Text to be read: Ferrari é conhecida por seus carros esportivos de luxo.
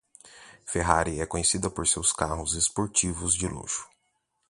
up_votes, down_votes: 0, 2